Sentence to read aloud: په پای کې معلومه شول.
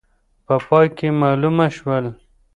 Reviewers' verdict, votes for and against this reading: rejected, 0, 2